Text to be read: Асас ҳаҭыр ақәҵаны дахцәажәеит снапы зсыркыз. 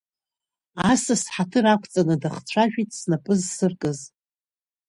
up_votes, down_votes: 2, 0